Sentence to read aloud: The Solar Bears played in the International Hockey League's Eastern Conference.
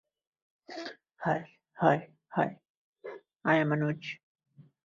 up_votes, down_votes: 0, 2